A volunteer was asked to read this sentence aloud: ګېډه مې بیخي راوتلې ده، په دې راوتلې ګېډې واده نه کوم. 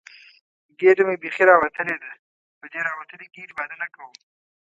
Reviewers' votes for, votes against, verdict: 0, 2, rejected